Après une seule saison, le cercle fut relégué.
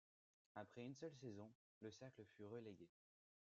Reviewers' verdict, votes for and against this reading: accepted, 2, 1